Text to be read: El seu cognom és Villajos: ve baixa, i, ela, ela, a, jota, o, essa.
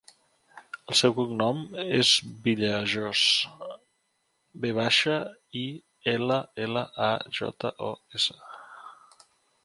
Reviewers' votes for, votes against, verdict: 2, 3, rejected